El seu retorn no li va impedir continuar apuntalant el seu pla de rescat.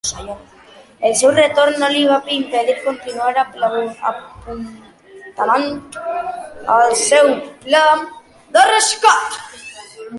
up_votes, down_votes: 0, 3